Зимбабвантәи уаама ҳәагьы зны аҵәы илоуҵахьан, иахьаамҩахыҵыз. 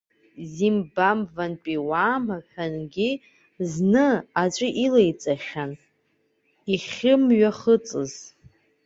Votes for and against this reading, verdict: 2, 1, accepted